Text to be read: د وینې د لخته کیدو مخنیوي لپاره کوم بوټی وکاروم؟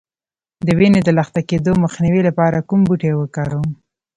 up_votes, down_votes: 2, 0